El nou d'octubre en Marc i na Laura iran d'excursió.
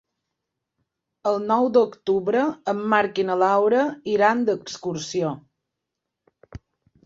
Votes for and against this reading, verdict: 2, 0, accepted